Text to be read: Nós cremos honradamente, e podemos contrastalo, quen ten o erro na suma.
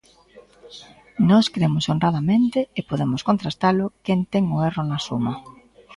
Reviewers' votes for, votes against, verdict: 2, 0, accepted